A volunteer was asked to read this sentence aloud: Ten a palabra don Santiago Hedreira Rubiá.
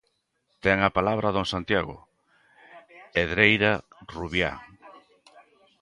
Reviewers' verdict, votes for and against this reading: accepted, 3, 0